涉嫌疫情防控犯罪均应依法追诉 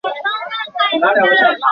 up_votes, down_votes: 0, 2